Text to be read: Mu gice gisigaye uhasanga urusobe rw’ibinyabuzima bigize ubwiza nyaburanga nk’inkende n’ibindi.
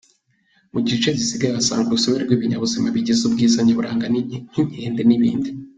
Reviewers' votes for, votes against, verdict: 0, 3, rejected